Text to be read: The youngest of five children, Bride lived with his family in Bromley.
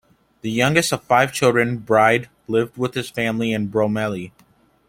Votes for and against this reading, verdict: 0, 2, rejected